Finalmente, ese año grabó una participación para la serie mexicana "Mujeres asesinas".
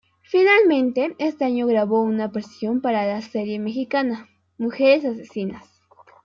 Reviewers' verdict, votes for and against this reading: rejected, 1, 2